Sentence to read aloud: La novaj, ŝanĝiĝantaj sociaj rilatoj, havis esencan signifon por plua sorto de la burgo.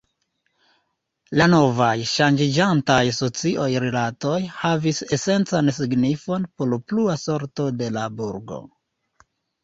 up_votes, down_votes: 2, 0